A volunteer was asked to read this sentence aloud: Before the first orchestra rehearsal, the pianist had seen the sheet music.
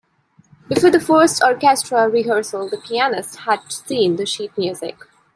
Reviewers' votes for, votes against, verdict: 2, 1, accepted